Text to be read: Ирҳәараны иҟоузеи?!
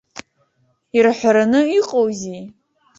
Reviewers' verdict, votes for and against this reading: accepted, 2, 0